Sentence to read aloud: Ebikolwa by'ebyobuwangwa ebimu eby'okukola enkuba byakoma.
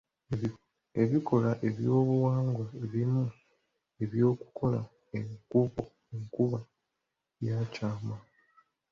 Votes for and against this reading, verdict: 0, 2, rejected